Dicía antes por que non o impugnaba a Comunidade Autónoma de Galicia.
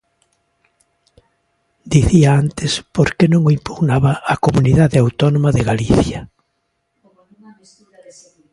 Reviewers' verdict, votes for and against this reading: accepted, 2, 0